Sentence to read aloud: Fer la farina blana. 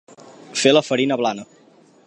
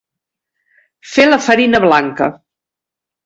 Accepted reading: first